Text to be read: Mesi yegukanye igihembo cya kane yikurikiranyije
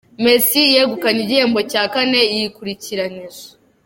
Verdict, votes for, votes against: accepted, 2, 0